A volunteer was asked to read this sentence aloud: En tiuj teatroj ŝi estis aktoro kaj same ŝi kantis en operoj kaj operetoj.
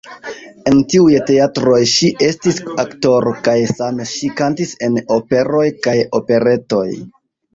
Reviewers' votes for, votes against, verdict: 2, 0, accepted